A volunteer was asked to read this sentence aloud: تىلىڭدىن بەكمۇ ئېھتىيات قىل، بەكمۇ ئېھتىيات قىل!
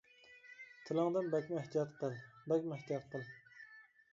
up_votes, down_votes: 1, 2